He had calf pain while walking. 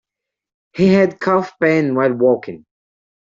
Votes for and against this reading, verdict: 2, 0, accepted